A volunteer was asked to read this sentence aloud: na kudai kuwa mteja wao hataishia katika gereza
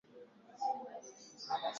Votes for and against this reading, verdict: 2, 5, rejected